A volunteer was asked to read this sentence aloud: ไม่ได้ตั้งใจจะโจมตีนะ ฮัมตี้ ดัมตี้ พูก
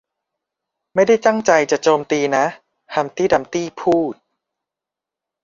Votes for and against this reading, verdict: 1, 2, rejected